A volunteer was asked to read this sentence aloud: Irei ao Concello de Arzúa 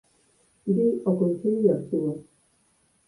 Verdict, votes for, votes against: rejected, 0, 4